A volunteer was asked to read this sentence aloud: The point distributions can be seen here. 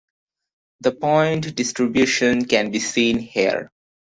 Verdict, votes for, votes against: rejected, 1, 2